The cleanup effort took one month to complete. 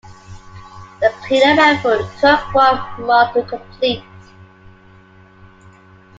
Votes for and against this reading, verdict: 2, 1, accepted